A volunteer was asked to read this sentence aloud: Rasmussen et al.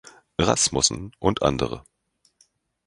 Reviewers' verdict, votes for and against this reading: rejected, 0, 2